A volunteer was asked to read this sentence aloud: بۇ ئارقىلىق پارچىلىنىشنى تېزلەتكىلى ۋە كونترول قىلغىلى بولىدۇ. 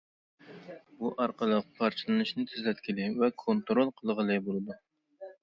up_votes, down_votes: 2, 0